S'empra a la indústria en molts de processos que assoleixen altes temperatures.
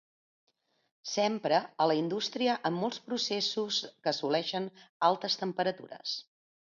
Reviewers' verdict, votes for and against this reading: rejected, 1, 2